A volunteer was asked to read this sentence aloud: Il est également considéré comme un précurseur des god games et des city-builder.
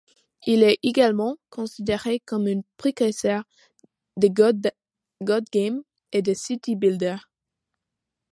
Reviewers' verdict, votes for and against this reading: rejected, 0, 2